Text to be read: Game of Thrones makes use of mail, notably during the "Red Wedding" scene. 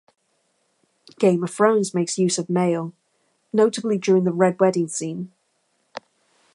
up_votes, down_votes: 2, 0